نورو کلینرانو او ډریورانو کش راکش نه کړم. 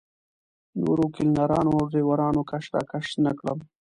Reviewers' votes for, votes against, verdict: 2, 0, accepted